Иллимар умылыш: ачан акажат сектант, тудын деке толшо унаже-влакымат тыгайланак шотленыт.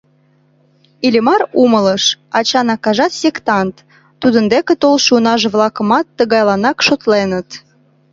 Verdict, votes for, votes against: accepted, 2, 0